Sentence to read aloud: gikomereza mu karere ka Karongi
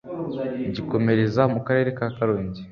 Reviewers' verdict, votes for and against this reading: accepted, 2, 0